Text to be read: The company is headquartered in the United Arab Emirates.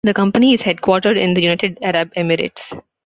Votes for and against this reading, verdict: 2, 0, accepted